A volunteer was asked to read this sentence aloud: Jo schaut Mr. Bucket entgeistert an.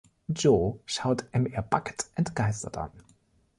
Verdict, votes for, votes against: rejected, 1, 2